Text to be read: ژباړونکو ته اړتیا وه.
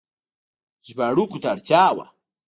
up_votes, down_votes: 1, 2